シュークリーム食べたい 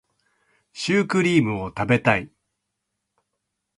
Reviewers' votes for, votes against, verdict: 1, 2, rejected